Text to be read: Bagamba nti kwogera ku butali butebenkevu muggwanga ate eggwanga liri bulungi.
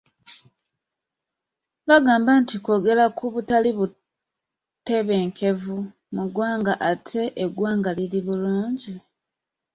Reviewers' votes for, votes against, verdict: 2, 0, accepted